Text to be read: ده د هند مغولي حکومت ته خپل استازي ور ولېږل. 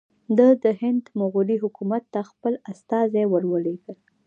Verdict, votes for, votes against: rejected, 0, 2